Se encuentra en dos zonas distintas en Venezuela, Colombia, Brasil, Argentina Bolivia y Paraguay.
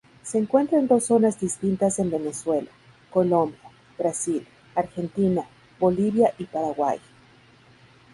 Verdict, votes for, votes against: accepted, 2, 0